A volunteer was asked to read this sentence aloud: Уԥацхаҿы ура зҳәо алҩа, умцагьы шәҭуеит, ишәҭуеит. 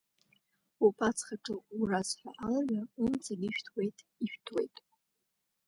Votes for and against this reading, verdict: 0, 2, rejected